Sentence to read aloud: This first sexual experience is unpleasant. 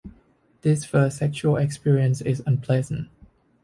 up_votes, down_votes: 2, 0